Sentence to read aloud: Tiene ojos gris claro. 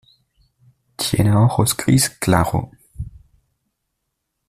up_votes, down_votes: 1, 2